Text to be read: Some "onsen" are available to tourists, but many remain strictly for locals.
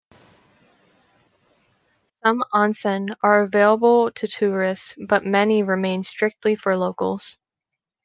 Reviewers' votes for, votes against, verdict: 2, 0, accepted